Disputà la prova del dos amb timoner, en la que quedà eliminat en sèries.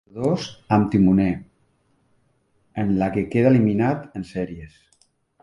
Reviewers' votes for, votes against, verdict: 0, 2, rejected